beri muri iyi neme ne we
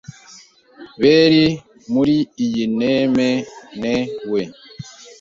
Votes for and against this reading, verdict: 1, 2, rejected